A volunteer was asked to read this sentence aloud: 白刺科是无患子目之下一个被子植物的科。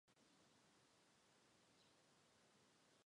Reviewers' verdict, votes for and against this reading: accepted, 2, 0